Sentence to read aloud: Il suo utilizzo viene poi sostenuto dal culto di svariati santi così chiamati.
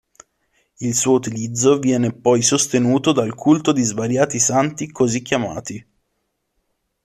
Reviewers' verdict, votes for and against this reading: accepted, 2, 0